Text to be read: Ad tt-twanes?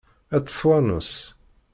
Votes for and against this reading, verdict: 0, 2, rejected